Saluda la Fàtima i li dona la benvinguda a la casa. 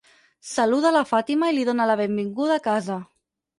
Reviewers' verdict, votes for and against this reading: rejected, 2, 4